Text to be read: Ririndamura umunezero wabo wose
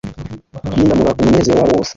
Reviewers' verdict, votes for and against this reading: accepted, 2, 0